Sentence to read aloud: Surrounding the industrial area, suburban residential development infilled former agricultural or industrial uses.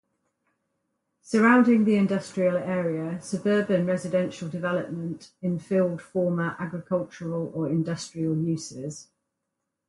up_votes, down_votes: 4, 0